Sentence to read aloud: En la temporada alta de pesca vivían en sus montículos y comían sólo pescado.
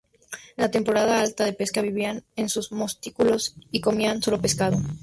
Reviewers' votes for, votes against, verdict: 0, 2, rejected